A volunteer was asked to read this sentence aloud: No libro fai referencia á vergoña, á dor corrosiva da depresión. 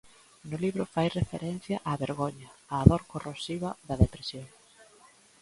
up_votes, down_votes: 0, 2